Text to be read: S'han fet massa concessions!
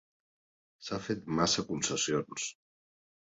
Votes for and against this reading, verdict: 2, 0, accepted